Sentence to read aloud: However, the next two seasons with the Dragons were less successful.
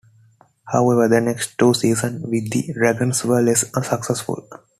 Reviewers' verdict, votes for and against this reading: rejected, 0, 2